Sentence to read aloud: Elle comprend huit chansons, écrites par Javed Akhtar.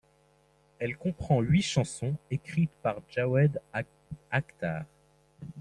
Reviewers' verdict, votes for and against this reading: rejected, 1, 2